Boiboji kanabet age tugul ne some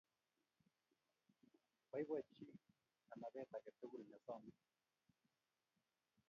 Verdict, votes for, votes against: rejected, 0, 2